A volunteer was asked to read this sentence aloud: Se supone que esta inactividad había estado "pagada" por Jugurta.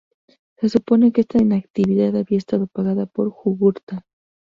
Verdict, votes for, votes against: rejected, 2, 2